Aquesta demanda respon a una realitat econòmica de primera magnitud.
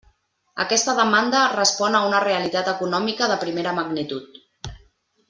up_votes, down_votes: 3, 0